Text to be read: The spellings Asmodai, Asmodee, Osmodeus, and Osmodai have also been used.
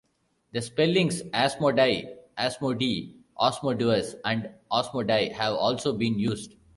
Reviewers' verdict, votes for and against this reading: rejected, 0, 2